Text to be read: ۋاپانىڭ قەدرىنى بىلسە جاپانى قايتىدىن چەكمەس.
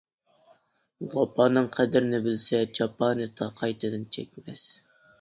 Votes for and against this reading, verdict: 0, 2, rejected